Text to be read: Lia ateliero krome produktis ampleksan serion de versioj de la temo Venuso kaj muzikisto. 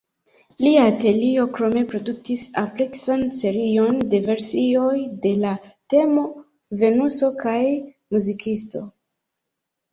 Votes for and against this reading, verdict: 0, 2, rejected